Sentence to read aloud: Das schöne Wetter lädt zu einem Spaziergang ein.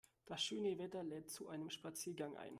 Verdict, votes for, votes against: rejected, 0, 2